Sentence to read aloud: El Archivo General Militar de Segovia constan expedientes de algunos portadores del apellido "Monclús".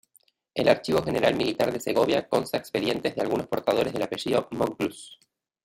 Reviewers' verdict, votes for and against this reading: rejected, 0, 2